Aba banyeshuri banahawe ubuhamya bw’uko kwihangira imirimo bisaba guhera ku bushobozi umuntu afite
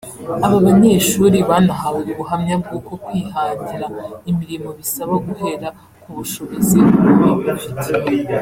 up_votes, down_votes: 0, 2